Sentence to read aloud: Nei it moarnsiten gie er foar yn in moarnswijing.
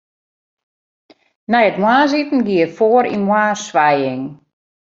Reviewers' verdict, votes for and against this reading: rejected, 1, 2